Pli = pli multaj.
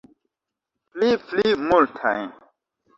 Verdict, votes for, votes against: rejected, 0, 2